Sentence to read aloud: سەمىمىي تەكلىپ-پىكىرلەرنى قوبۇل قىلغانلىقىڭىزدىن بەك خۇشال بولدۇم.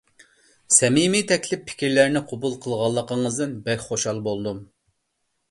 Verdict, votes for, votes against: accepted, 2, 0